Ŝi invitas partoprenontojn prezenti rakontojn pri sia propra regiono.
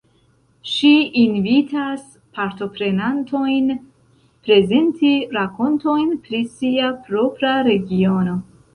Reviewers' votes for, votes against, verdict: 1, 2, rejected